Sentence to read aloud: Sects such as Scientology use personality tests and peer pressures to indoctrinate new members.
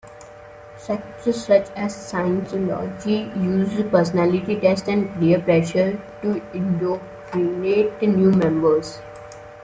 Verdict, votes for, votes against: rejected, 0, 2